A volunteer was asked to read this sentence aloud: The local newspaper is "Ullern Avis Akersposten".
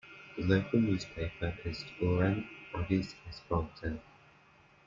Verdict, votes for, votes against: rejected, 0, 2